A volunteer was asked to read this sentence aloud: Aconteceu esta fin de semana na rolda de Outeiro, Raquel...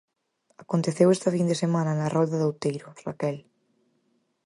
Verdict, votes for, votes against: accepted, 4, 0